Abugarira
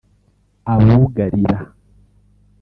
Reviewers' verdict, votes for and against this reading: rejected, 1, 2